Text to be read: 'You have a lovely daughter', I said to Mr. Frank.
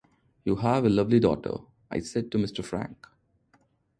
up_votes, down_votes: 2, 0